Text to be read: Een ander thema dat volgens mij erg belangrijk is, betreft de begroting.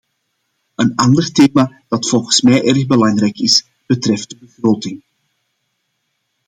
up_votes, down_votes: 2, 0